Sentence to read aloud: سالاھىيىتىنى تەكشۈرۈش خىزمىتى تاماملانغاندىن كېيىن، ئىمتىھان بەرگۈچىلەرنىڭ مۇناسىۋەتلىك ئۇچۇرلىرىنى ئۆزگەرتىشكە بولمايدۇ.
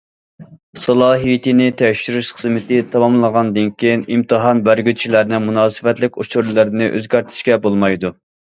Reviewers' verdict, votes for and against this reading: rejected, 0, 2